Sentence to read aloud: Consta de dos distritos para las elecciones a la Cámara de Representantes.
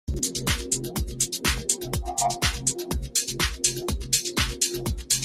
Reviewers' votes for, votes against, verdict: 0, 2, rejected